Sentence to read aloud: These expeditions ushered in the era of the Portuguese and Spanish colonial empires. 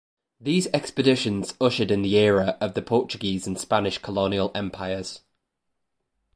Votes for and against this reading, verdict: 2, 0, accepted